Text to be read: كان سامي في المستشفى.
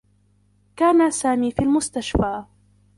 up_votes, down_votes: 0, 2